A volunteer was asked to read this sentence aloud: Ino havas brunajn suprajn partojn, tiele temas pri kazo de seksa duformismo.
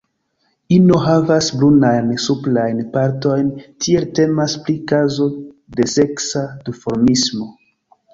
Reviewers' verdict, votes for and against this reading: rejected, 1, 2